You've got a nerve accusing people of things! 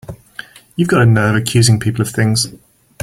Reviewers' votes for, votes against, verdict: 5, 0, accepted